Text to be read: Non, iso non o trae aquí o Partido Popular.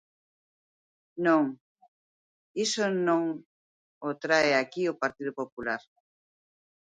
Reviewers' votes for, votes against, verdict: 2, 0, accepted